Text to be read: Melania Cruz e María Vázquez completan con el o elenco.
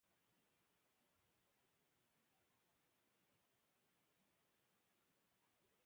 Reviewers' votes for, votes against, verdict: 0, 2, rejected